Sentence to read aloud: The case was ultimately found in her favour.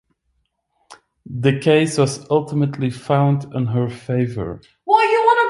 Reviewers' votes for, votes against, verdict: 1, 2, rejected